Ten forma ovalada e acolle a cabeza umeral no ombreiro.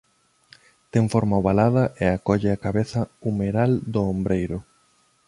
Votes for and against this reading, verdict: 0, 2, rejected